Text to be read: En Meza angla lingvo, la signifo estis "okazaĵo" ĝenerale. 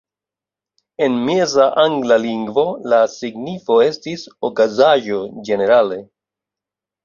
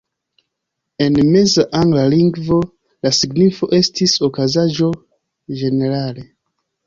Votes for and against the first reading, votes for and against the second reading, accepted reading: 2, 0, 0, 2, first